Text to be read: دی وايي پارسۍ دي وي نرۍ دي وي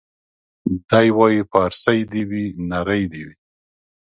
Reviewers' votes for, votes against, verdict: 2, 0, accepted